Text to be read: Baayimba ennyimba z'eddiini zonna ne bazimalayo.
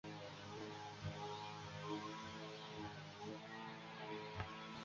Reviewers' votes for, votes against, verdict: 0, 2, rejected